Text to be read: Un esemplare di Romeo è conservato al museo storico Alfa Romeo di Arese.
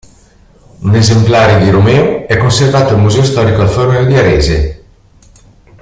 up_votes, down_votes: 2, 0